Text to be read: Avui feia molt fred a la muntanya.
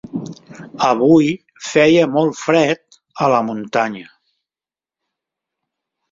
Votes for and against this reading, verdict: 3, 0, accepted